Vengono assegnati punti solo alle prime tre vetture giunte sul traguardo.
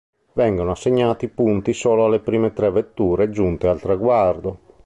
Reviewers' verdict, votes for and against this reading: rejected, 0, 2